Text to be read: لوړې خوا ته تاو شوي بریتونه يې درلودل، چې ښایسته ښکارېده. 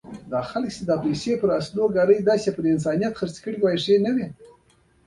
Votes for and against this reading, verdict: 0, 2, rejected